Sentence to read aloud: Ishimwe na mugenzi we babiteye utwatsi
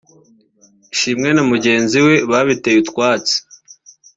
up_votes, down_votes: 2, 1